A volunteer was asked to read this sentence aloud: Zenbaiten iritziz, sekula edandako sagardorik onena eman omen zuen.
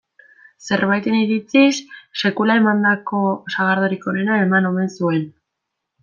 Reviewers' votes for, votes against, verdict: 0, 2, rejected